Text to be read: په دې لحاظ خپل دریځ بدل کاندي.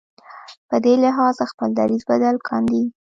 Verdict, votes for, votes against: rejected, 1, 2